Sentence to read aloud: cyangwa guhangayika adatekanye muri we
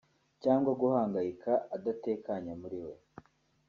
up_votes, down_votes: 2, 0